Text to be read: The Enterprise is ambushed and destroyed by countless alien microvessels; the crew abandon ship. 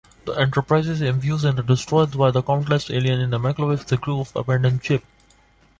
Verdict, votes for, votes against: rejected, 1, 2